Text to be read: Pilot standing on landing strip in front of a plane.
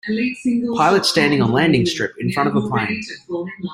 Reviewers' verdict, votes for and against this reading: rejected, 0, 2